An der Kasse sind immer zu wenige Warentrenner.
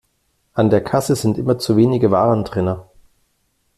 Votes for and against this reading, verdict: 2, 0, accepted